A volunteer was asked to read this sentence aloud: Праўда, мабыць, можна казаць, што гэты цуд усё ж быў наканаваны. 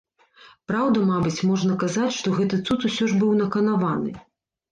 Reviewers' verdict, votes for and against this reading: accepted, 2, 0